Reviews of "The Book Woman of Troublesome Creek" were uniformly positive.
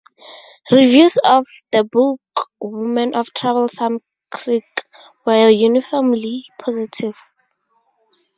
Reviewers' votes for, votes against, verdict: 4, 2, accepted